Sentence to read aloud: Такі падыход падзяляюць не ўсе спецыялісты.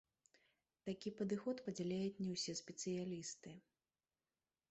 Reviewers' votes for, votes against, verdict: 1, 3, rejected